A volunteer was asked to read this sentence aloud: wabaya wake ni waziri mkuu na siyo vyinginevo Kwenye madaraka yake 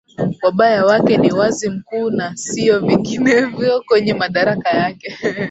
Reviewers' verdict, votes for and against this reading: rejected, 0, 2